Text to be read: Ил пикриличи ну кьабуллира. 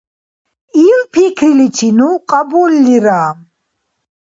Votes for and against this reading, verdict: 2, 0, accepted